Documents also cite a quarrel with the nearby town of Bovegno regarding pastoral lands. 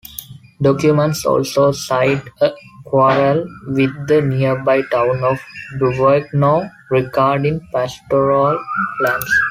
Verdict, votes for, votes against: accepted, 2, 0